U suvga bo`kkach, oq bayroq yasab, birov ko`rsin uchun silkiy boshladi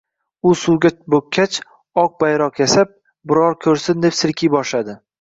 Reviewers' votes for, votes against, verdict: 1, 2, rejected